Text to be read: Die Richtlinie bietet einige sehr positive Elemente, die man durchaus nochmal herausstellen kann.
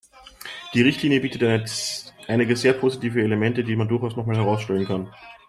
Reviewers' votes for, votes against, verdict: 0, 2, rejected